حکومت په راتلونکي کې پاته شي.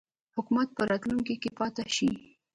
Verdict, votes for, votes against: rejected, 0, 2